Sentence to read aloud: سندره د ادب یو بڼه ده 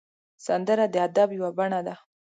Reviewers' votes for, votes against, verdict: 7, 0, accepted